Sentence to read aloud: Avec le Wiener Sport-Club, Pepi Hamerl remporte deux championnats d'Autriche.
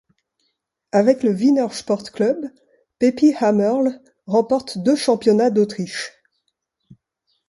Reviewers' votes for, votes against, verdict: 2, 0, accepted